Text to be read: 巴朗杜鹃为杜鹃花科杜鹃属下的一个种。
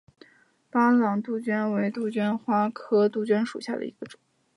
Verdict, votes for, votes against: accepted, 2, 0